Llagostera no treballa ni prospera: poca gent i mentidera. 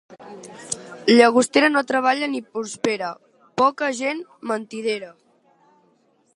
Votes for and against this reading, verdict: 1, 2, rejected